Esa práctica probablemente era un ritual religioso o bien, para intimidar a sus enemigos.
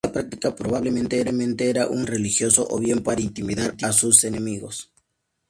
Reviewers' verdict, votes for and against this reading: rejected, 0, 2